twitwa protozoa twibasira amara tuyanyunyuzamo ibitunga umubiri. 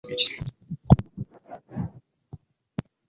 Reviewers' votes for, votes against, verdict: 1, 2, rejected